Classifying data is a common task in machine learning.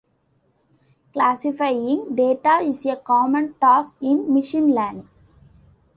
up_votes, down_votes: 2, 0